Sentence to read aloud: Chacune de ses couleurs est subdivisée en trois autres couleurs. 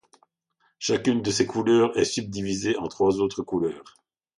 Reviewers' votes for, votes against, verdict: 2, 0, accepted